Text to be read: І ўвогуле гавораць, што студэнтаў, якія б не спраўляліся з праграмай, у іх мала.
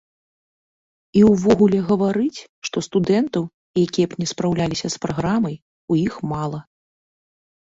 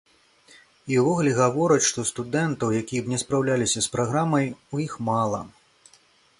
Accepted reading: second